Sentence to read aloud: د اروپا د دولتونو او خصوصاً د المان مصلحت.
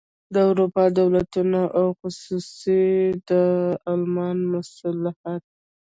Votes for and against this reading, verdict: 1, 2, rejected